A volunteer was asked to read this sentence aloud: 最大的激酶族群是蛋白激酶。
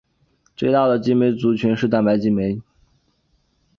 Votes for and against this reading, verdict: 3, 1, accepted